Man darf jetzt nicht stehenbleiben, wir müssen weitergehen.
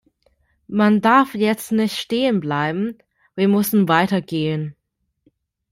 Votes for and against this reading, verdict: 2, 1, accepted